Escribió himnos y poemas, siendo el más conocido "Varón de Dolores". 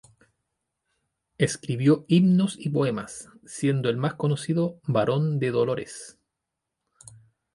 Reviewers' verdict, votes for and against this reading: accepted, 2, 0